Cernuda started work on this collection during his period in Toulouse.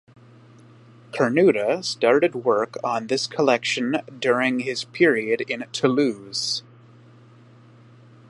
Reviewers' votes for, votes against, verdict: 1, 2, rejected